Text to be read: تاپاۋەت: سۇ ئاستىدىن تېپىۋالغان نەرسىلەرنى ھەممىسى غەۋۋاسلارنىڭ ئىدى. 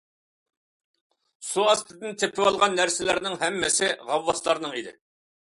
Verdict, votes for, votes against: rejected, 0, 2